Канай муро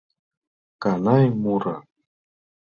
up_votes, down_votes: 2, 0